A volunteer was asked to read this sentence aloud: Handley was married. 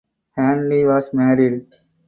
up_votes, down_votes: 4, 2